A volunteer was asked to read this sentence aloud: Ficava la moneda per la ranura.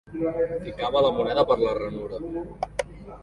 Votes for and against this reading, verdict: 2, 1, accepted